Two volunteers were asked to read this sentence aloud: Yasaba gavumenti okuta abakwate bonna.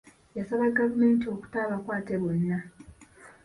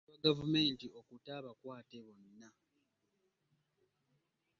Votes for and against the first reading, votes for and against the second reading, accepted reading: 2, 1, 0, 2, first